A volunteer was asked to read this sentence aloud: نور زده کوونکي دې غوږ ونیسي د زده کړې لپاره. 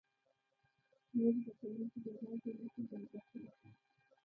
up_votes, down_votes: 0, 2